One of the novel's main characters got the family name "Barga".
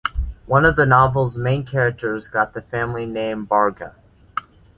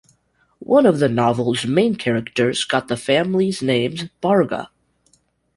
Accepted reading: first